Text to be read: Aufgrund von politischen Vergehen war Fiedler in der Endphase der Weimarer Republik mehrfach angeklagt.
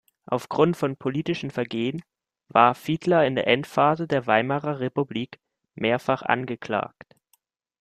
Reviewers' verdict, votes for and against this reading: accepted, 2, 0